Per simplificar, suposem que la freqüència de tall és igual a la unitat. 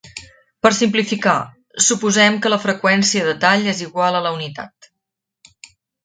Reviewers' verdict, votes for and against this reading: accepted, 3, 1